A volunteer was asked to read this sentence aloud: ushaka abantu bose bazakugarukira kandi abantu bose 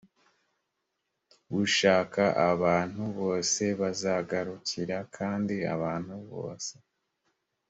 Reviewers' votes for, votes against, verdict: 2, 0, accepted